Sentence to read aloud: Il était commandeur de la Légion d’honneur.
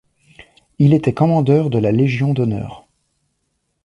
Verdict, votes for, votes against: accepted, 2, 0